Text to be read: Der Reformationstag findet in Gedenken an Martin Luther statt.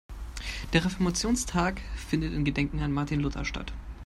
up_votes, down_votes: 2, 0